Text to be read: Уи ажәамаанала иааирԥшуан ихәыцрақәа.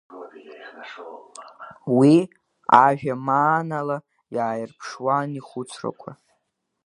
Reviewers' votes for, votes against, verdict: 0, 2, rejected